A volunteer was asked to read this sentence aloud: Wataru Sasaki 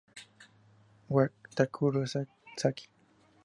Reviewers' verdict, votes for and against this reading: accepted, 2, 0